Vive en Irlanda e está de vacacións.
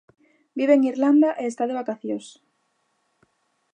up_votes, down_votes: 2, 0